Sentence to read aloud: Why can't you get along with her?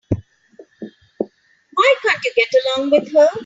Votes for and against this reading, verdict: 3, 0, accepted